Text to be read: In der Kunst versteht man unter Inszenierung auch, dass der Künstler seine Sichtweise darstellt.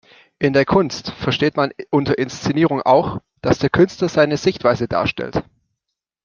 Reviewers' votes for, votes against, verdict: 1, 2, rejected